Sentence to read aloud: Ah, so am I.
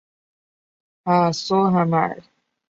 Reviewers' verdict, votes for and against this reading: accepted, 2, 0